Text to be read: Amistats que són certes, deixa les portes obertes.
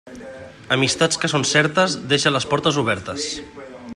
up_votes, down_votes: 2, 1